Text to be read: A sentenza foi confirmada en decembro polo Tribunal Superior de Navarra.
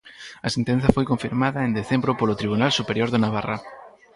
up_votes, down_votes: 2, 2